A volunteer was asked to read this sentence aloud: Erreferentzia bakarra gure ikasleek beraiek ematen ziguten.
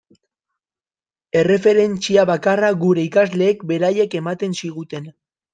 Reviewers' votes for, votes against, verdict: 0, 2, rejected